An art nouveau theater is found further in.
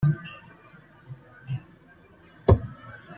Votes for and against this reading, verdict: 0, 2, rejected